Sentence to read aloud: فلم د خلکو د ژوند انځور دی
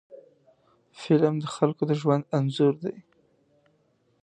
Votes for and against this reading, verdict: 2, 0, accepted